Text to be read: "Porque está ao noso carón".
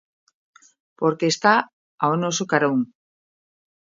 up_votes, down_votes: 2, 1